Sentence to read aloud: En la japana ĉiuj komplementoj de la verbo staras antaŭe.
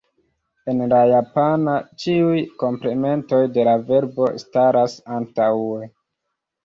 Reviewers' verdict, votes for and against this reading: accepted, 3, 1